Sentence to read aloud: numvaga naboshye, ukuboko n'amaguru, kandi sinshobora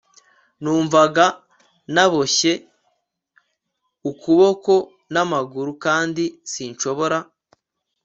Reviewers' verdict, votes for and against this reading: accepted, 2, 0